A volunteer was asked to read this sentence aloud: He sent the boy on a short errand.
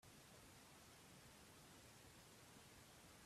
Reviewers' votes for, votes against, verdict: 0, 2, rejected